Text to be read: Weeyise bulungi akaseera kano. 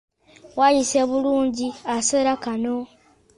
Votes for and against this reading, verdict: 0, 2, rejected